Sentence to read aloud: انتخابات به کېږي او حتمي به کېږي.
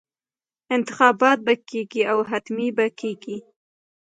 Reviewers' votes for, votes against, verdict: 2, 0, accepted